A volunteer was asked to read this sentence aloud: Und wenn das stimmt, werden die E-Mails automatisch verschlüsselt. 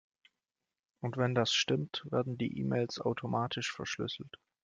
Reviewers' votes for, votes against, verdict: 2, 0, accepted